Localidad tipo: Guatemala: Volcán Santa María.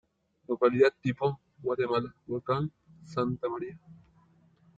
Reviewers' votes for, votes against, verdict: 1, 2, rejected